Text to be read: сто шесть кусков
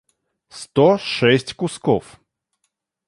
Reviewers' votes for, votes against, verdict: 2, 0, accepted